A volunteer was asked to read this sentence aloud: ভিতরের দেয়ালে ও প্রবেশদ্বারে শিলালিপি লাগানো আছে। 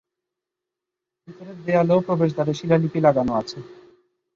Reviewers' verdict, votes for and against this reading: rejected, 0, 4